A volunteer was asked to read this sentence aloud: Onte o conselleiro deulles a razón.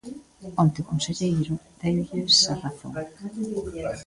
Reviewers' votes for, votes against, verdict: 2, 0, accepted